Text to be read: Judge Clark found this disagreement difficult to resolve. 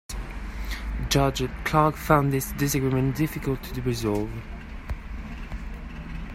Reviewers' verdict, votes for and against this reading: accepted, 2, 0